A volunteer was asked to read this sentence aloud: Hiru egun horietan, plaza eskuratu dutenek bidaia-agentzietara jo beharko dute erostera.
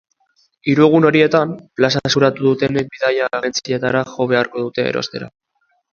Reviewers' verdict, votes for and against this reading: rejected, 1, 2